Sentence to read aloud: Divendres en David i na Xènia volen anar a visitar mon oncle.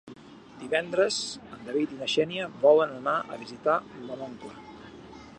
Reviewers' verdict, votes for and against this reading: rejected, 1, 2